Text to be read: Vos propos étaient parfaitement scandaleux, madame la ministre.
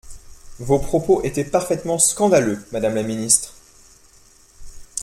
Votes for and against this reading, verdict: 1, 2, rejected